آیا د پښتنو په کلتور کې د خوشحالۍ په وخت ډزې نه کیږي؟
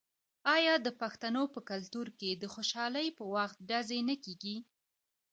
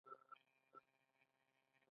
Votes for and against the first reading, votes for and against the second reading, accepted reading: 2, 0, 0, 2, first